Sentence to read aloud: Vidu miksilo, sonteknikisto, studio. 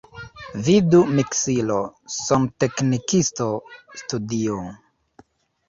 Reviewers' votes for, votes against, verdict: 1, 2, rejected